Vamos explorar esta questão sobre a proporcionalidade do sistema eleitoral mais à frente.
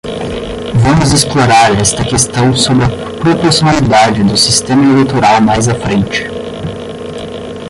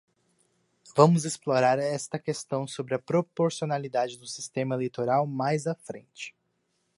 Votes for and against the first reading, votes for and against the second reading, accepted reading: 5, 5, 2, 0, second